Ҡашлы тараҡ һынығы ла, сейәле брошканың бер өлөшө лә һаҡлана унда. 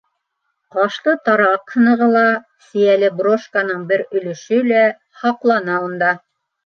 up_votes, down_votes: 2, 0